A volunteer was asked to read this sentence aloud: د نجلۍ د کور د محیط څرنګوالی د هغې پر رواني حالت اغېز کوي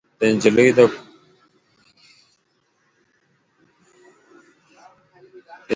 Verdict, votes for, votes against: rejected, 0, 2